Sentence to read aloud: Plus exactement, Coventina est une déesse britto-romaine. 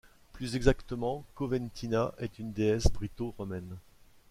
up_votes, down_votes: 2, 0